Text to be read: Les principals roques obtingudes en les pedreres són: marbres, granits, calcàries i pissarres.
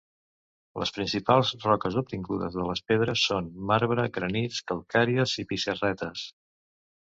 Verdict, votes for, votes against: rejected, 1, 2